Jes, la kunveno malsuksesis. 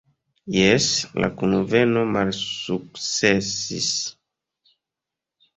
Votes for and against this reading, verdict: 2, 0, accepted